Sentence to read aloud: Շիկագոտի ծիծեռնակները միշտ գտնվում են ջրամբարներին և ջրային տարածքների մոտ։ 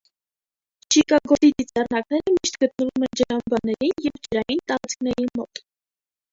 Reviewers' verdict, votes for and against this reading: rejected, 1, 2